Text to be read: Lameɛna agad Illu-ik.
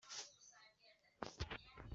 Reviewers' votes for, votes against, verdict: 0, 2, rejected